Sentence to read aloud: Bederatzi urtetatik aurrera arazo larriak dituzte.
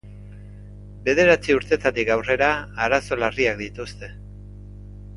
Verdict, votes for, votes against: accepted, 2, 0